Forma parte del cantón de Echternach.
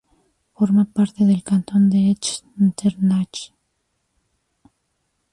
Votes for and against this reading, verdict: 0, 2, rejected